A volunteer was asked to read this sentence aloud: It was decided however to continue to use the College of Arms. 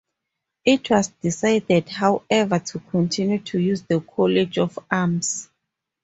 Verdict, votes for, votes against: accepted, 2, 0